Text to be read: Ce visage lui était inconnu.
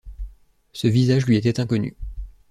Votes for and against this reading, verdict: 2, 0, accepted